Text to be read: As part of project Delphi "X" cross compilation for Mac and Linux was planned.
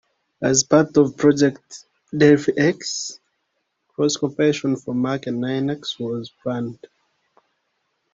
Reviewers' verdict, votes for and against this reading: accepted, 2, 1